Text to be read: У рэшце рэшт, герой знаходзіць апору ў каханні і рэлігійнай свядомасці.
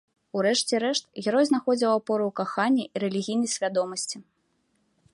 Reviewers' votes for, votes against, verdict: 1, 2, rejected